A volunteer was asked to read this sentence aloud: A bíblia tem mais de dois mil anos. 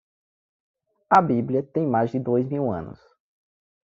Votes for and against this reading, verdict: 2, 0, accepted